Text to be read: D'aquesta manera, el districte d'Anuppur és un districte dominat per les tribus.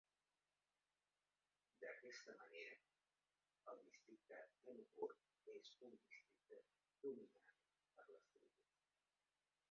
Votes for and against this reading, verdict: 0, 3, rejected